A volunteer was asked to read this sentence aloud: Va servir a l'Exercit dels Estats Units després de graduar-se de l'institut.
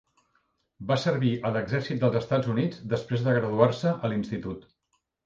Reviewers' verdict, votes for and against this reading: rejected, 1, 2